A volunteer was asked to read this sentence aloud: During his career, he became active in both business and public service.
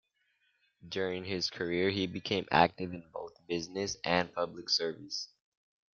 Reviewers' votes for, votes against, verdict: 2, 0, accepted